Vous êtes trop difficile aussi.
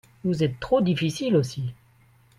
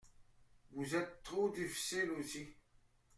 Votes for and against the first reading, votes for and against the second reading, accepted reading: 2, 0, 1, 2, first